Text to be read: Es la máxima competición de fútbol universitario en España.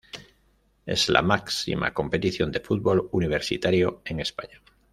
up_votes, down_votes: 2, 0